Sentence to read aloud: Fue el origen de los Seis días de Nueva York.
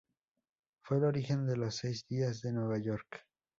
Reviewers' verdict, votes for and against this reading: rejected, 0, 2